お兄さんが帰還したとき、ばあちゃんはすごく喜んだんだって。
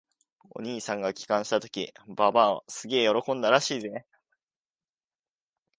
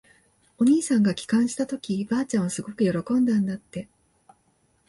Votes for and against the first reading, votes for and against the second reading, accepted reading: 1, 2, 2, 0, second